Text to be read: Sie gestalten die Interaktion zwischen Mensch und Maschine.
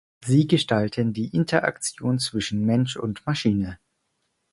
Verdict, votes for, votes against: accepted, 4, 0